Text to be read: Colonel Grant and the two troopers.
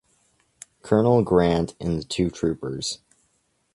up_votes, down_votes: 2, 1